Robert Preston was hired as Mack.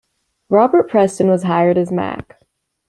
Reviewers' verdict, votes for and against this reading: accepted, 2, 0